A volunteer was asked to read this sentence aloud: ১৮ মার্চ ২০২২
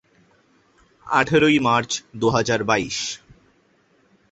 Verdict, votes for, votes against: rejected, 0, 2